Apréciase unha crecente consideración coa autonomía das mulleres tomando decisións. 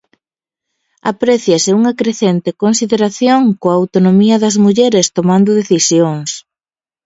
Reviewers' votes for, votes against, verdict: 2, 0, accepted